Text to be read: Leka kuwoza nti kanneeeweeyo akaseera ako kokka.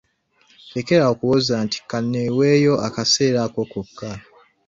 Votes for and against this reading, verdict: 1, 2, rejected